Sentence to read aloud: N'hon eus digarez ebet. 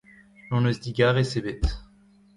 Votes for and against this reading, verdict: 0, 2, rejected